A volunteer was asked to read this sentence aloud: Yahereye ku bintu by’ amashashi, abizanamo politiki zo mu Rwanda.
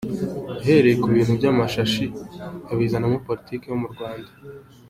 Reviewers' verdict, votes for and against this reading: accepted, 2, 1